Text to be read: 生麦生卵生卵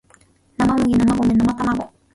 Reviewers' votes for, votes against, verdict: 2, 0, accepted